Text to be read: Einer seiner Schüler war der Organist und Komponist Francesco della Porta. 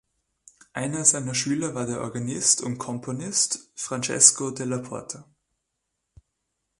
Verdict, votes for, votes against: accepted, 3, 0